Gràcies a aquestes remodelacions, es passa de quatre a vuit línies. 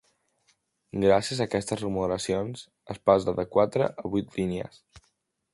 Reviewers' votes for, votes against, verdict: 3, 0, accepted